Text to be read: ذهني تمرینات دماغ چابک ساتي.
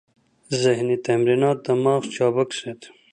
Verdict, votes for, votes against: accepted, 2, 0